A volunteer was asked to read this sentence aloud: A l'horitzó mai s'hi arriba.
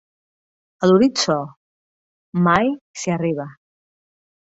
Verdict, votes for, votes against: accepted, 2, 0